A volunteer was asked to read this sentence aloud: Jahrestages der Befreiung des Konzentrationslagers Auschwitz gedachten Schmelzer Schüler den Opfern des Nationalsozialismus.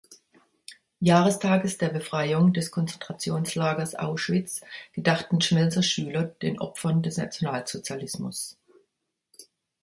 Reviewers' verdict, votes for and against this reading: accepted, 2, 0